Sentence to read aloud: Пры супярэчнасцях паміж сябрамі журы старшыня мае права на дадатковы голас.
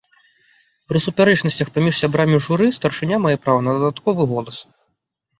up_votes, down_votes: 1, 2